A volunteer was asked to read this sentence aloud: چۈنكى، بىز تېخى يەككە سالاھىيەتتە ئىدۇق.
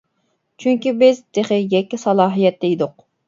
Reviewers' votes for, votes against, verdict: 2, 0, accepted